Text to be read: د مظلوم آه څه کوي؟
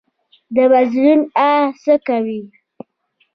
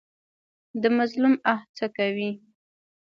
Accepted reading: first